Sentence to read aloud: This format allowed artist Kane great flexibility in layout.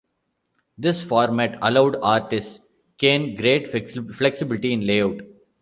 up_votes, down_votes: 1, 2